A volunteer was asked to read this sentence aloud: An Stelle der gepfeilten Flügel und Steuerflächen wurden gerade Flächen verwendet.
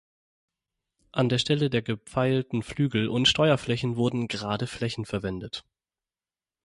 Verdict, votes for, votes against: rejected, 3, 6